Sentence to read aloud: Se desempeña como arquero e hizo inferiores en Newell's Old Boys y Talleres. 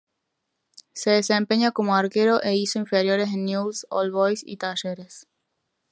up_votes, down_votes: 0, 2